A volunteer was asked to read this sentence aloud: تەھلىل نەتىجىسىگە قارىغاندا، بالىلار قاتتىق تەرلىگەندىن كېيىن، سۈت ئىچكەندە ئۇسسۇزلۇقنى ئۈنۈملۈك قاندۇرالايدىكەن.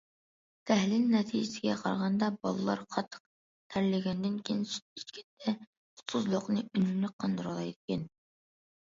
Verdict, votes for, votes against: rejected, 1, 2